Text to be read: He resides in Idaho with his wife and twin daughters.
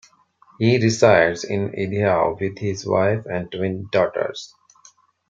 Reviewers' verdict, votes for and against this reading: rejected, 0, 2